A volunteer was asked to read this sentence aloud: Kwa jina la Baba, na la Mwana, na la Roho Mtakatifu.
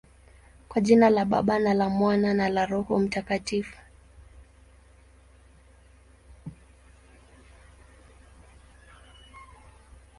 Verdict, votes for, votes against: rejected, 0, 3